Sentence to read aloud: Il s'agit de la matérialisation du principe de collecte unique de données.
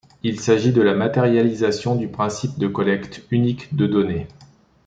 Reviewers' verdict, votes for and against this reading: accepted, 3, 0